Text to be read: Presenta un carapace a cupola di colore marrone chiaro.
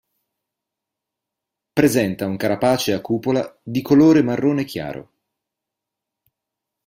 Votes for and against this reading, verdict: 2, 0, accepted